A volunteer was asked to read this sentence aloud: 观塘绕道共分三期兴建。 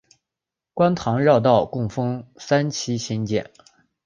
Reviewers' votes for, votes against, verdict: 3, 0, accepted